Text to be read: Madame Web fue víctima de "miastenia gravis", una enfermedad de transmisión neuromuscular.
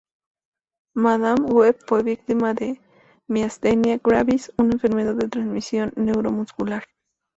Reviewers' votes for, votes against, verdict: 2, 0, accepted